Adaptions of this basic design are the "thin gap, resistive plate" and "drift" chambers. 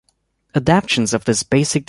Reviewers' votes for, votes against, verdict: 1, 3, rejected